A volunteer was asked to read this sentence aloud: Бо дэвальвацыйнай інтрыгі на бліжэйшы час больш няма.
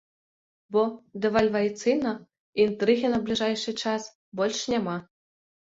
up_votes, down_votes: 0, 2